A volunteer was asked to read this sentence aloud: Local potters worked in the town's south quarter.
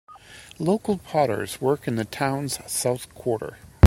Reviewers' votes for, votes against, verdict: 2, 0, accepted